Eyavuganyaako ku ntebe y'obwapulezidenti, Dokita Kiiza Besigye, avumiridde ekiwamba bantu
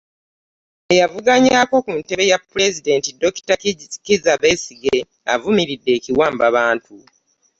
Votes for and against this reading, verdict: 1, 2, rejected